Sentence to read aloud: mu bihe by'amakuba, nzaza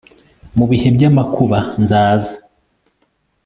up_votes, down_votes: 2, 0